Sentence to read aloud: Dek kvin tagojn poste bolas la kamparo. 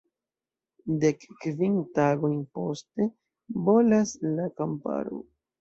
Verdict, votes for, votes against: accepted, 2, 0